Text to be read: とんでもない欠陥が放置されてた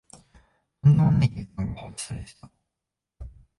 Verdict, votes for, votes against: rejected, 1, 2